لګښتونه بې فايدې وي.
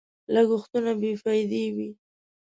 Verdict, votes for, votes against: accepted, 2, 0